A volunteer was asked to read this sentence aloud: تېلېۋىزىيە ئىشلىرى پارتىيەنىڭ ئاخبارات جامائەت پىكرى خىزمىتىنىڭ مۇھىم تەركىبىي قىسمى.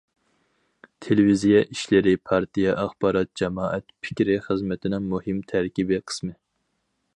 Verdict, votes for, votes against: rejected, 0, 4